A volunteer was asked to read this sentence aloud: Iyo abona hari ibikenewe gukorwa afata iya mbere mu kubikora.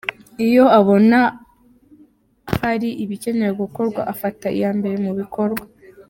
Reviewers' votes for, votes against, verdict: 1, 2, rejected